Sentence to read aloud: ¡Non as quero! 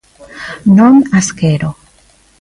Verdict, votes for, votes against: accepted, 2, 0